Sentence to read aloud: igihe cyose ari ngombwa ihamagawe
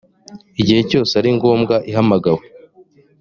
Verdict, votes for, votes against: accepted, 2, 0